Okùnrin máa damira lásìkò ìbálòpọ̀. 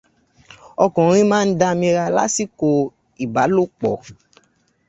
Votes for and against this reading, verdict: 2, 1, accepted